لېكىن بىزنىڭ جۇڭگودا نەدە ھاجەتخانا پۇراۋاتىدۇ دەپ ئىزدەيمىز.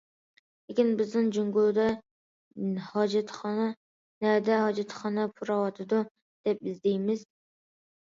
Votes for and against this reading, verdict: 0, 2, rejected